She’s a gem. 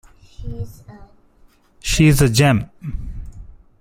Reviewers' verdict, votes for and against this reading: rejected, 0, 2